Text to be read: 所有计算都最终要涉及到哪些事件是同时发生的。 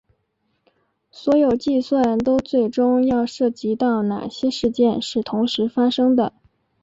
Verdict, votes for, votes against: accepted, 6, 0